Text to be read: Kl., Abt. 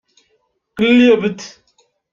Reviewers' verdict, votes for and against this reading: rejected, 1, 2